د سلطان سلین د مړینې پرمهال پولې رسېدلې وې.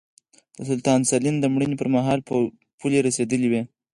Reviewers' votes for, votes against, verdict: 0, 4, rejected